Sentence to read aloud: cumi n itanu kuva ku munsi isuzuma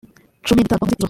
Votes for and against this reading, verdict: 0, 2, rejected